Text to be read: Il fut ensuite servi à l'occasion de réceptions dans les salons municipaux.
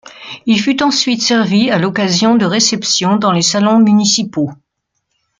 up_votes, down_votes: 2, 0